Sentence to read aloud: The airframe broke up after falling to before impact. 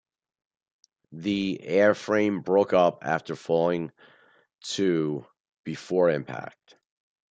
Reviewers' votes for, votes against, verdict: 2, 1, accepted